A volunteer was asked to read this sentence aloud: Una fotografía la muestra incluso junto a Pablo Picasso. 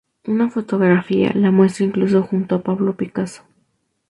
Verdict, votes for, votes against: accepted, 2, 0